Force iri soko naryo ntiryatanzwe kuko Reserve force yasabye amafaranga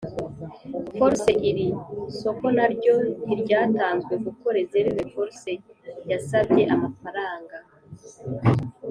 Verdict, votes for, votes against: accepted, 2, 0